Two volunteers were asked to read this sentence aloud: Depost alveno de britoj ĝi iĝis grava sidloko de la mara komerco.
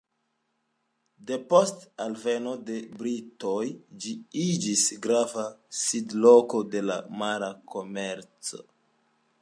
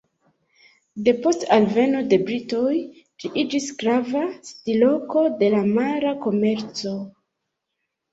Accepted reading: first